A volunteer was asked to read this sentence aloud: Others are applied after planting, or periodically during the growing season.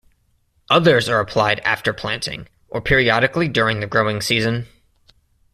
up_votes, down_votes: 2, 0